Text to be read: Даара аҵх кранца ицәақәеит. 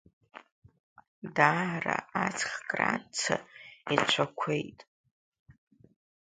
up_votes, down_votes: 2, 0